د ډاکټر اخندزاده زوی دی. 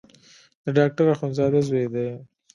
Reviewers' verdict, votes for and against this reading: rejected, 1, 2